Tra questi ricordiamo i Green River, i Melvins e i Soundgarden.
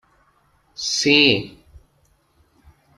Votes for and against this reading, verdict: 0, 2, rejected